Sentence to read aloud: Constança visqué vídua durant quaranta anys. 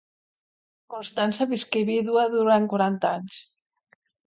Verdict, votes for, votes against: accepted, 2, 0